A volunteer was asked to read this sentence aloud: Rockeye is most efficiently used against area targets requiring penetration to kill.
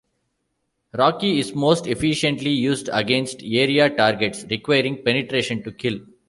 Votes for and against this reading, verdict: 1, 2, rejected